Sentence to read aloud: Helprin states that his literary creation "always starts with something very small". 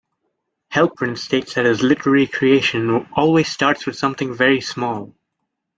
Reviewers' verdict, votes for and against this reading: accepted, 2, 0